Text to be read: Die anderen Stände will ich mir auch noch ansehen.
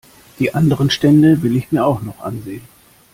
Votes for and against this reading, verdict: 2, 0, accepted